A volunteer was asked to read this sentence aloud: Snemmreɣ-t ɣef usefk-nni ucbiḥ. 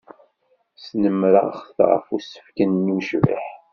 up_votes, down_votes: 0, 2